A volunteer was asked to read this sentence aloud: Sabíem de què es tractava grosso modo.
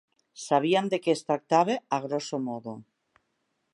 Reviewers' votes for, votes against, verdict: 1, 2, rejected